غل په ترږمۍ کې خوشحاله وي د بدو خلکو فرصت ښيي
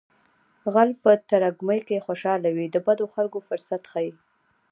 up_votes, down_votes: 2, 0